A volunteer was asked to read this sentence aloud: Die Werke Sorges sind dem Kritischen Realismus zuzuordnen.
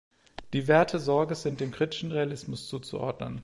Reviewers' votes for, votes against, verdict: 1, 2, rejected